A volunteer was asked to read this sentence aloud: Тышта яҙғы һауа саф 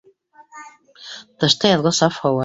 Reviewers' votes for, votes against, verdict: 1, 3, rejected